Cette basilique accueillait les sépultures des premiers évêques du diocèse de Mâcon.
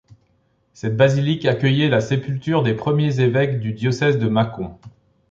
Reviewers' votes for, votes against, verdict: 2, 0, accepted